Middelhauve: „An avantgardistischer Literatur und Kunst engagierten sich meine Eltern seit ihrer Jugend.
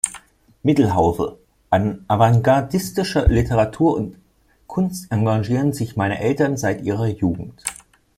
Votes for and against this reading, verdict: 0, 2, rejected